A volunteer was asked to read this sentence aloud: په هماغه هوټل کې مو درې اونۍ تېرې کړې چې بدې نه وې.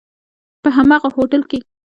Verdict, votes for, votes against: rejected, 1, 2